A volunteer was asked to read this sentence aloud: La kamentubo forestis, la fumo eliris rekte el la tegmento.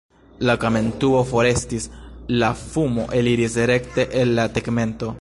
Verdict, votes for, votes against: rejected, 1, 2